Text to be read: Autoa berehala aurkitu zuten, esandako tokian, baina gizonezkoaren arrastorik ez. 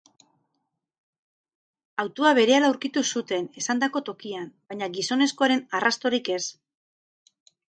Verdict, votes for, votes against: accepted, 2, 0